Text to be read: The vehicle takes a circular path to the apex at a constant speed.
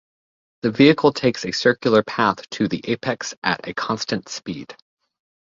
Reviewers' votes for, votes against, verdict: 2, 0, accepted